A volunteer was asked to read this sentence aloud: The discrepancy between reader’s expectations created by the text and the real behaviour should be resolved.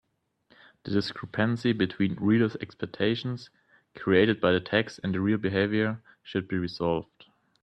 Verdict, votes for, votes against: accepted, 2, 0